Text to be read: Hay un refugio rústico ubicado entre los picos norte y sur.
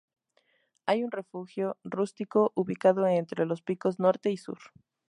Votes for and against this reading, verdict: 2, 0, accepted